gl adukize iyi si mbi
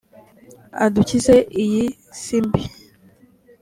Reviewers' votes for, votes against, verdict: 2, 0, accepted